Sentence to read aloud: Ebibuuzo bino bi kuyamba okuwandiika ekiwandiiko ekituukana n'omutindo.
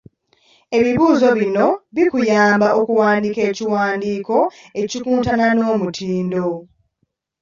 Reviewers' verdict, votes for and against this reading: rejected, 1, 2